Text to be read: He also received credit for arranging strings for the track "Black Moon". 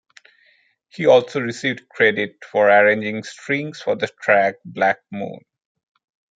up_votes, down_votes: 0, 2